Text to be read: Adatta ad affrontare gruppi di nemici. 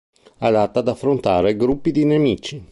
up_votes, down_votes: 3, 0